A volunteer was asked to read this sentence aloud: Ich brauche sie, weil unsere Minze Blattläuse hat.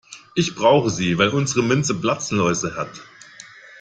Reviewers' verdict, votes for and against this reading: rejected, 0, 2